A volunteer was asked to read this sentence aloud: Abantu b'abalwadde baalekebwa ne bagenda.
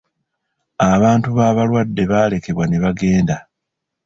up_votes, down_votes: 2, 0